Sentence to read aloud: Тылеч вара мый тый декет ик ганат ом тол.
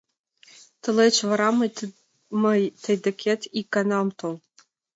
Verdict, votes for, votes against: rejected, 0, 2